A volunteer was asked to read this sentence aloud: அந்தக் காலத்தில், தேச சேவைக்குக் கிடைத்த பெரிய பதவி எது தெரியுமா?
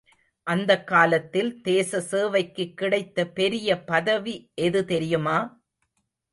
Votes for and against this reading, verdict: 0, 2, rejected